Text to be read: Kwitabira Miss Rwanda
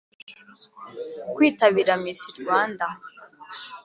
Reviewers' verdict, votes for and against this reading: accepted, 2, 0